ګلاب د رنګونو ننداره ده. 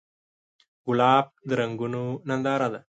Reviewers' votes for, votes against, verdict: 5, 0, accepted